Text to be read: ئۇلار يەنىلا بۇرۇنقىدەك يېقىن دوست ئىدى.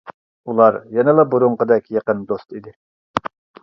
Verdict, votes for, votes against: accepted, 2, 0